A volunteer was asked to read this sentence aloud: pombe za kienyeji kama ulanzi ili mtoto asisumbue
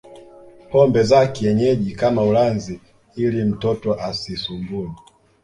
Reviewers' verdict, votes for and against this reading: accepted, 2, 0